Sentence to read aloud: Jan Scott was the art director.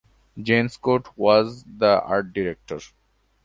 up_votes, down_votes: 2, 0